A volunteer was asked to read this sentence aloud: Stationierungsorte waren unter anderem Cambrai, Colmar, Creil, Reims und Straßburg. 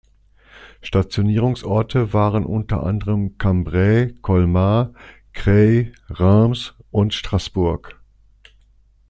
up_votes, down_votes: 2, 0